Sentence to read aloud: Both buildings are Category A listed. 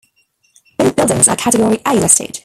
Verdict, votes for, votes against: rejected, 1, 2